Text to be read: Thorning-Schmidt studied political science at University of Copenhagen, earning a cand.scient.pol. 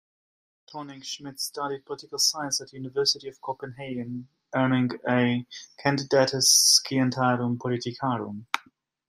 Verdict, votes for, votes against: rejected, 0, 2